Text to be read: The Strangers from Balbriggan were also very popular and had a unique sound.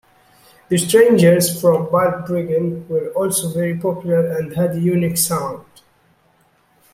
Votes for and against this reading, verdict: 2, 0, accepted